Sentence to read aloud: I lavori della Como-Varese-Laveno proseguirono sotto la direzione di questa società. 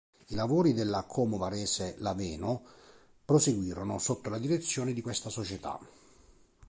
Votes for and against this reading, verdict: 2, 0, accepted